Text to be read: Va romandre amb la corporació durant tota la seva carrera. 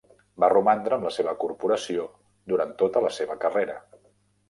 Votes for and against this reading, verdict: 0, 2, rejected